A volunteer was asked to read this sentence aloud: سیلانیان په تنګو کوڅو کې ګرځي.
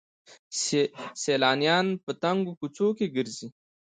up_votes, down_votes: 0, 2